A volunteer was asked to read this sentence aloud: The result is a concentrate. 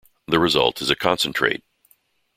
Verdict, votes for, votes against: accepted, 2, 0